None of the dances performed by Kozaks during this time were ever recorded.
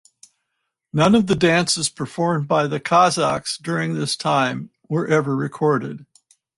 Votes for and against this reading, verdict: 2, 4, rejected